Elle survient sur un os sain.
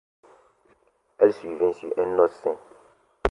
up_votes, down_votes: 2, 0